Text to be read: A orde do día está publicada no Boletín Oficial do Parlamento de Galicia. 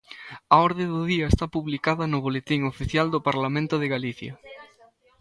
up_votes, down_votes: 1, 2